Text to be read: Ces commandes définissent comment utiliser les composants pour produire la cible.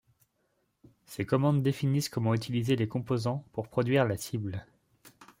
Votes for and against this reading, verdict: 2, 0, accepted